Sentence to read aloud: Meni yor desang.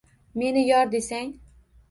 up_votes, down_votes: 1, 2